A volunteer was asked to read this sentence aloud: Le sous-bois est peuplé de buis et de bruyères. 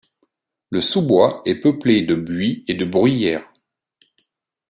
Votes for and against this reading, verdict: 2, 0, accepted